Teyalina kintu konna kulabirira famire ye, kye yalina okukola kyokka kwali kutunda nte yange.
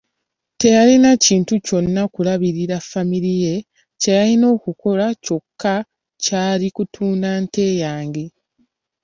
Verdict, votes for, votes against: rejected, 2, 3